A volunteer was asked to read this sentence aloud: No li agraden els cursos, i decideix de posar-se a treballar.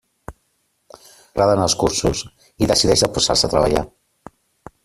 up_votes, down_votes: 0, 2